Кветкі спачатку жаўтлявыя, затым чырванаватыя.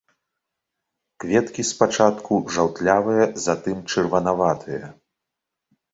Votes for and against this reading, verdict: 2, 0, accepted